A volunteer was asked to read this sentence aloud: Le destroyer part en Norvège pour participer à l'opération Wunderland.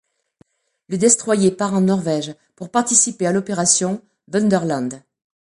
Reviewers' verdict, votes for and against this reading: rejected, 1, 2